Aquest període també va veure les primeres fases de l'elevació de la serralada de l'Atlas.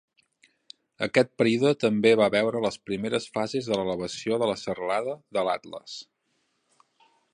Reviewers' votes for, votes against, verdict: 2, 1, accepted